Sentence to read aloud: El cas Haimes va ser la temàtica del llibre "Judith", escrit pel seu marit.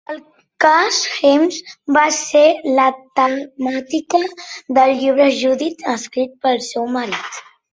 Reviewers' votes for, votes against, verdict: 2, 1, accepted